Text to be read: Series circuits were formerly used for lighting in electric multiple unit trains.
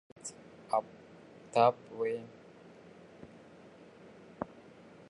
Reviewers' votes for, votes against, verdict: 0, 2, rejected